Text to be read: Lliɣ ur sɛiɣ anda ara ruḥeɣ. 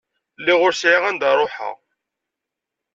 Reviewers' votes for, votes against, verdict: 2, 0, accepted